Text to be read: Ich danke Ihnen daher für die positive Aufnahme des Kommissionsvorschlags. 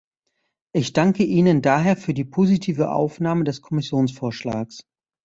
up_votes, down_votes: 2, 0